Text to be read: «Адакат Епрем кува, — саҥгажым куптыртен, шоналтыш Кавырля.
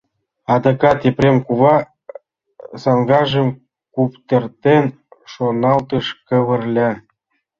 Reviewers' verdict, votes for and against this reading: accepted, 2, 0